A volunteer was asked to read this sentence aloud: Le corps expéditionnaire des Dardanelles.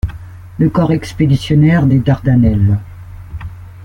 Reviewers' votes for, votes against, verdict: 2, 0, accepted